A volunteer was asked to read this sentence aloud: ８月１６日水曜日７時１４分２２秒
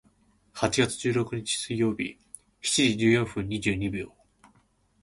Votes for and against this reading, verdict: 0, 2, rejected